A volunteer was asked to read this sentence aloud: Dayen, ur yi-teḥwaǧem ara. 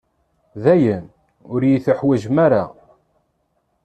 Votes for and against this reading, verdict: 2, 0, accepted